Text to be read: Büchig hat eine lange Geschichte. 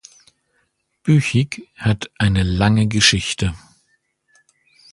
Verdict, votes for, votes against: accepted, 2, 0